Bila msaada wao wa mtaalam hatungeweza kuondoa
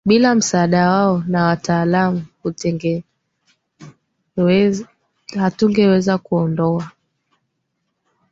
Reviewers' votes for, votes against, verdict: 1, 2, rejected